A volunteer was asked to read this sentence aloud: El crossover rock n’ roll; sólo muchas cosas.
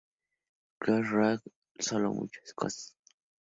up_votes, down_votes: 0, 2